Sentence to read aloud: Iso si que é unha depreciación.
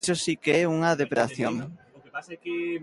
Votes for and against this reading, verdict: 0, 2, rejected